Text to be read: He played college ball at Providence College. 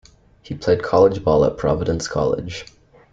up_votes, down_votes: 2, 0